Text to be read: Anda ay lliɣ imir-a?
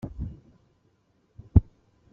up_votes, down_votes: 0, 2